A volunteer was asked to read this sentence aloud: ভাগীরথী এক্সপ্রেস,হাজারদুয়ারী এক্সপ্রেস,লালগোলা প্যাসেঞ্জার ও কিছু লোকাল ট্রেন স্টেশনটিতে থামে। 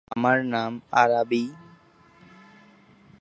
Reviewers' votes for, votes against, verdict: 1, 7, rejected